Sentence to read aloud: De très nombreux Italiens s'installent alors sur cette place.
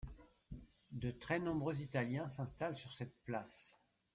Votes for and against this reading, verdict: 1, 2, rejected